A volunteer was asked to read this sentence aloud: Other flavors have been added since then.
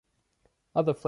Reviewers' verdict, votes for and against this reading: rejected, 0, 2